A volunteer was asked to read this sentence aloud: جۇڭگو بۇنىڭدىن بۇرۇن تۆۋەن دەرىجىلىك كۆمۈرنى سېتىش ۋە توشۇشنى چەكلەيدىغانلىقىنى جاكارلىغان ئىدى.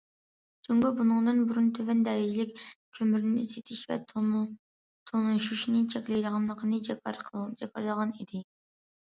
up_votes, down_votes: 0, 2